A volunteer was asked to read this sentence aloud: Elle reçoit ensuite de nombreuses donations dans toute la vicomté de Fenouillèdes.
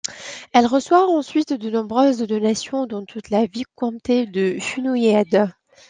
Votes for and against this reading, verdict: 1, 2, rejected